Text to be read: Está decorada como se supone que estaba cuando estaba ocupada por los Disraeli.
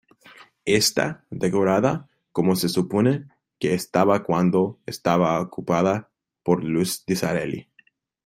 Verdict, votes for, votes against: accepted, 2, 1